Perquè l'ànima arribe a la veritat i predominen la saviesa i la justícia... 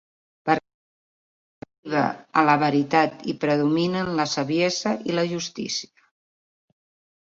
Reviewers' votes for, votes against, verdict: 0, 2, rejected